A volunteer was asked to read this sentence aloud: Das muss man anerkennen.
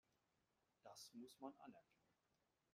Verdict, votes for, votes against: rejected, 1, 2